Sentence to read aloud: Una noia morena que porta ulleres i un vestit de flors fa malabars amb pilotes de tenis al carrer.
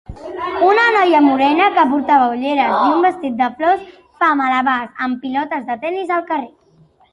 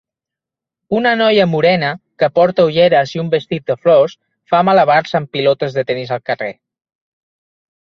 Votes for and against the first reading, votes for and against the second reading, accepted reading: 0, 2, 2, 0, second